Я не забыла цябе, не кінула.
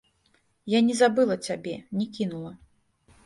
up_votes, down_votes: 1, 2